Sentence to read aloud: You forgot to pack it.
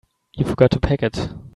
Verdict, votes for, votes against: accepted, 2, 1